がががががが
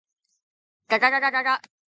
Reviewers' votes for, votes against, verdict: 2, 0, accepted